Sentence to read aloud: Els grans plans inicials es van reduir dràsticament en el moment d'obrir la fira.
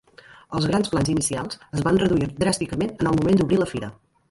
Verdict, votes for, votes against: rejected, 0, 2